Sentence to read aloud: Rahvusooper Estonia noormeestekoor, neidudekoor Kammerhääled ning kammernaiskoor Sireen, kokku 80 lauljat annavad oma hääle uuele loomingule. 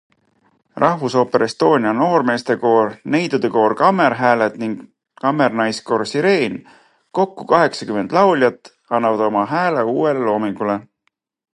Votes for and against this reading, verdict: 0, 2, rejected